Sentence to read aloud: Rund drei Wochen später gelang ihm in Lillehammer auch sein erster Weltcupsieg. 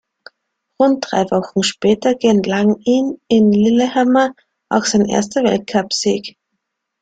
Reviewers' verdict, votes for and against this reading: rejected, 1, 2